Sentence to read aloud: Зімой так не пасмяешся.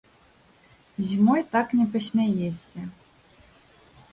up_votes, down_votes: 2, 0